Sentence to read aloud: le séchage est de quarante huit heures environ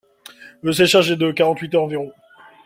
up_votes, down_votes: 2, 0